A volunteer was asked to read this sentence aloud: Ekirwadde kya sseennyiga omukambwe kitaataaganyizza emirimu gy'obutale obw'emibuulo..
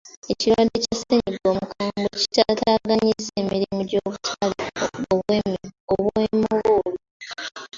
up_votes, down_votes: 0, 2